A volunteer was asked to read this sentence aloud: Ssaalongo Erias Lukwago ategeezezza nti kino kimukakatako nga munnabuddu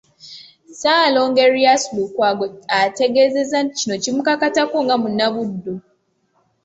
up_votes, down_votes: 2, 0